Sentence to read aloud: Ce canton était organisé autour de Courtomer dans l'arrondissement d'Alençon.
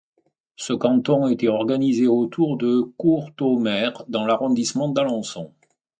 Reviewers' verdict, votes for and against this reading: accepted, 2, 0